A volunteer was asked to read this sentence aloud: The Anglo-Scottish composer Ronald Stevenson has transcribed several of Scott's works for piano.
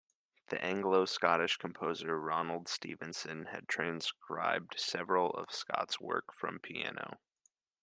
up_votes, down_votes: 1, 2